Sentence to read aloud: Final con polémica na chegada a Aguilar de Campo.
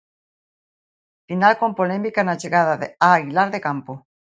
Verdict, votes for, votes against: rejected, 0, 2